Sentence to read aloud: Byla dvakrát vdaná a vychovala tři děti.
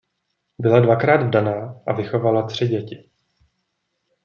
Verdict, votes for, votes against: accepted, 2, 0